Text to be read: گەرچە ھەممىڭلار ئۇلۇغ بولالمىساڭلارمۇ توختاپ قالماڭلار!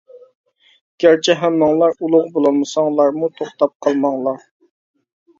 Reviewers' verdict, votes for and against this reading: accepted, 2, 0